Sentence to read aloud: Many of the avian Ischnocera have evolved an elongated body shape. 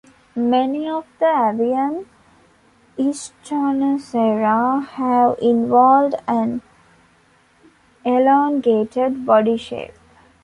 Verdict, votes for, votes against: rejected, 0, 2